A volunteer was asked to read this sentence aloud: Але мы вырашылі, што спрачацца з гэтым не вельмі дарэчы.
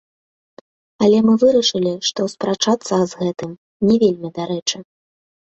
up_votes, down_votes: 1, 2